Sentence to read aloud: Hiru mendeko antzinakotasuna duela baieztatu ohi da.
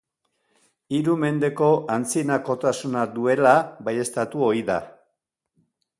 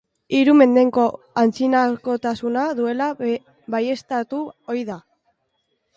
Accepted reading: first